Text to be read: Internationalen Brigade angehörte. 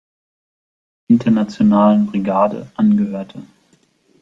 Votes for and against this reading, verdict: 2, 0, accepted